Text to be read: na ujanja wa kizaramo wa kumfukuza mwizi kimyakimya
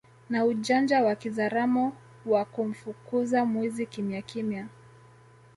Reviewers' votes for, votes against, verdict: 2, 0, accepted